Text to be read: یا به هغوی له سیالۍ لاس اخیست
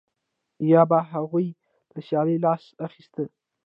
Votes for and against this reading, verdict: 0, 2, rejected